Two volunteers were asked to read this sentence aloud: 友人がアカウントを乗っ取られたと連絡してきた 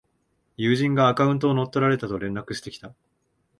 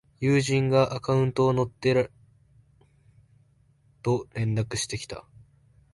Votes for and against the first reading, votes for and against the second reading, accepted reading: 2, 0, 0, 2, first